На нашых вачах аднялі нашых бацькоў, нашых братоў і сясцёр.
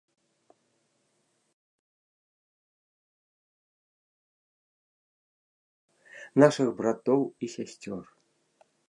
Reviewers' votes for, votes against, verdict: 0, 2, rejected